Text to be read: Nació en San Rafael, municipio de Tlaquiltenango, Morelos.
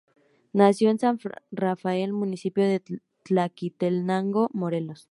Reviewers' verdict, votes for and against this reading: rejected, 0, 2